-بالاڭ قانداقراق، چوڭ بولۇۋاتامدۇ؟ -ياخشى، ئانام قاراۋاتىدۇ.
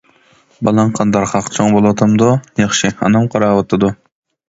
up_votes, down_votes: 0, 2